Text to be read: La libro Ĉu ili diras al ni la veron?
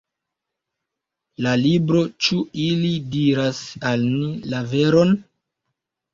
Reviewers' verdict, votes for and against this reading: accepted, 2, 0